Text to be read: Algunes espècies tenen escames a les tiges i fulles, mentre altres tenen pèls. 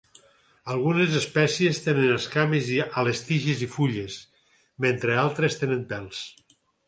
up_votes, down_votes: 2, 4